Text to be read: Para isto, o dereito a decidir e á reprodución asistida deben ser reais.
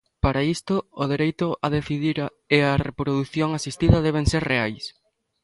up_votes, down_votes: 0, 2